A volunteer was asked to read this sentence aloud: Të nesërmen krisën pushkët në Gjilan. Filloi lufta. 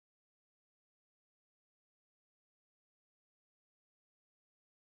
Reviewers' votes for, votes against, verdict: 0, 2, rejected